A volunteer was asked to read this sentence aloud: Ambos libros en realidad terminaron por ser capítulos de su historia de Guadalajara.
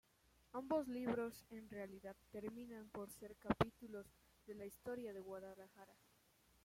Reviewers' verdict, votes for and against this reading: rejected, 0, 2